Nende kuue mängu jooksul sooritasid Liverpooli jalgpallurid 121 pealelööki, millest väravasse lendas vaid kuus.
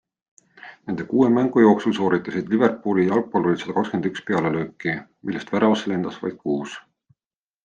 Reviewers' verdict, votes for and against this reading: rejected, 0, 2